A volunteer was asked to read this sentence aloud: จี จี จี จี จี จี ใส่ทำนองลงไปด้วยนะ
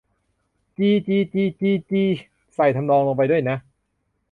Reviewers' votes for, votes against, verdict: 0, 2, rejected